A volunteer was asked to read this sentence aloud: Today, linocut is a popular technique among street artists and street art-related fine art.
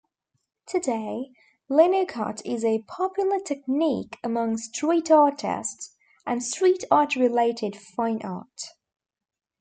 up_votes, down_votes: 1, 2